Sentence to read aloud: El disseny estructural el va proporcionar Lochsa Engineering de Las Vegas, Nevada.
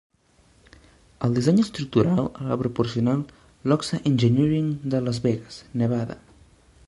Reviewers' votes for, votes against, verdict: 2, 1, accepted